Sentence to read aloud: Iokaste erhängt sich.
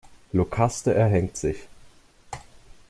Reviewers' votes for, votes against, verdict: 2, 0, accepted